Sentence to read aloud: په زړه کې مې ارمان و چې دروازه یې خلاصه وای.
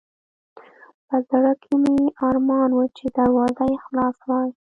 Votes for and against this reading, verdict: 0, 2, rejected